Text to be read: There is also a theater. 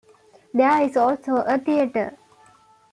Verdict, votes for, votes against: accepted, 2, 0